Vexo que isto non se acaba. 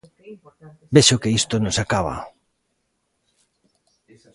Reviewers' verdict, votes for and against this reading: accepted, 2, 0